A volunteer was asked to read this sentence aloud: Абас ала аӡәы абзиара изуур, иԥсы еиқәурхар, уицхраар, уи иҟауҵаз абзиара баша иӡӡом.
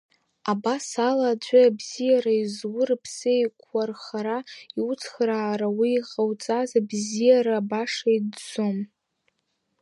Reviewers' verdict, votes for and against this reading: rejected, 1, 2